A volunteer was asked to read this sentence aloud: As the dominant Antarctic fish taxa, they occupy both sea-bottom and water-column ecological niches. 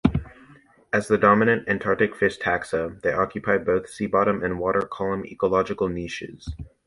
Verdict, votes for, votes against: accepted, 3, 0